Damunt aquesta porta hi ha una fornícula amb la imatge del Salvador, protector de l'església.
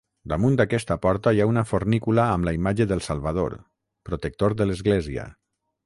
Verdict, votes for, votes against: rejected, 0, 3